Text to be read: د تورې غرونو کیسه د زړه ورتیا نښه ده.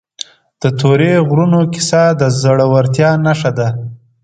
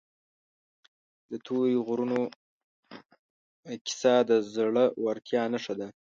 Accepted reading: first